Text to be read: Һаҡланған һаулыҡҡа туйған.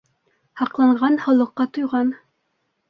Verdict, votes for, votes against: accepted, 2, 0